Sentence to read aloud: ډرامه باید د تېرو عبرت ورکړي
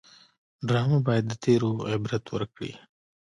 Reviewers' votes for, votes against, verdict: 2, 0, accepted